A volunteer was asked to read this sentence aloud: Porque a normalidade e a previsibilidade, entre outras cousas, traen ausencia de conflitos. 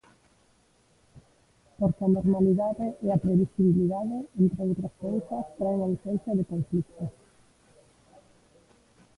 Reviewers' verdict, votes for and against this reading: rejected, 0, 2